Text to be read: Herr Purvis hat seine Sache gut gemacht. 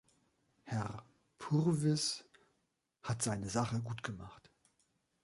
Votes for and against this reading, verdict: 2, 0, accepted